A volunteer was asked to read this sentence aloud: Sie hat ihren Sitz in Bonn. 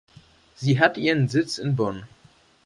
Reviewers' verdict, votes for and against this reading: accepted, 2, 0